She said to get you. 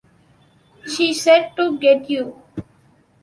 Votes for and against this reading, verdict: 2, 0, accepted